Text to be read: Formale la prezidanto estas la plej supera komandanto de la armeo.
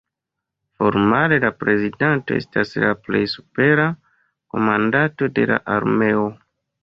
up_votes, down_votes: 2, 0